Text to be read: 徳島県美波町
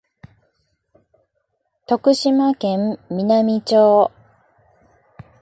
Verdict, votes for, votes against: accepted, 2, 0